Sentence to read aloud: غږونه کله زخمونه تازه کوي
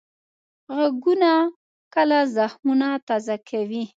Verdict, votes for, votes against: accepted, 2, 0